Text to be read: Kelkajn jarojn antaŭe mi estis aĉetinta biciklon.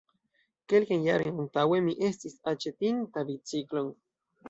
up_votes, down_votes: 2, 0